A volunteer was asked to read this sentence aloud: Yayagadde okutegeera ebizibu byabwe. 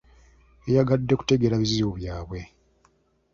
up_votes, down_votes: 1, 2